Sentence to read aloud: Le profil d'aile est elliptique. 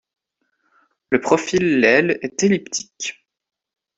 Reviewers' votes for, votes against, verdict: 0, 2, rejected